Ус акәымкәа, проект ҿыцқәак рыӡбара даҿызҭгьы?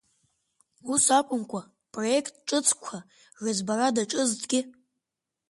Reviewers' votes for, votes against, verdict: 1, 3, rejected